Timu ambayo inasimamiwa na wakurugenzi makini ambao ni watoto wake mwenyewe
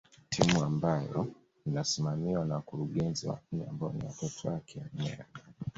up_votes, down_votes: 0, 2